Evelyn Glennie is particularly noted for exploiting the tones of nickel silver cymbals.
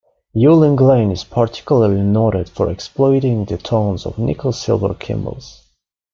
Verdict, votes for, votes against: rejected, 1, 2